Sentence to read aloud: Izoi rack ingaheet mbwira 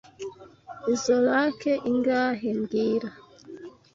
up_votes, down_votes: 0, 2